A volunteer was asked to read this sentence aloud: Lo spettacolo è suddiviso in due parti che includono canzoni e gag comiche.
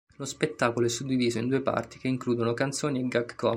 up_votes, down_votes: 0, 2